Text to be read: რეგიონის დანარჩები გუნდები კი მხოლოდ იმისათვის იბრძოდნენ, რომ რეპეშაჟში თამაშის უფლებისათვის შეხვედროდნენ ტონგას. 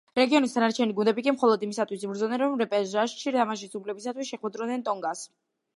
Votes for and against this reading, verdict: 2, 0, accepted